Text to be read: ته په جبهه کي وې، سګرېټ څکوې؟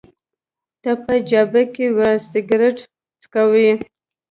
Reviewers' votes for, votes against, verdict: 0, 2, rejected